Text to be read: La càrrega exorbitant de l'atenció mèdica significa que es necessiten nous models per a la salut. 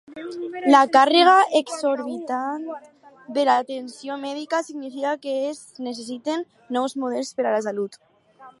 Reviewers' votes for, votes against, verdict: 2, 0, accepted